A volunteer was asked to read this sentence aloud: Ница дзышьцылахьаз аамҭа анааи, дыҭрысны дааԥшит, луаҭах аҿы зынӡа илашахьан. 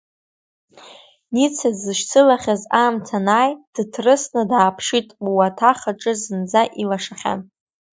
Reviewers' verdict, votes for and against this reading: accepted, 2, 0